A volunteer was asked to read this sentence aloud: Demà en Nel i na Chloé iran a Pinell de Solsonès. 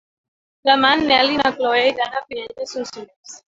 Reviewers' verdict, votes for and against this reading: rejected, 0, 2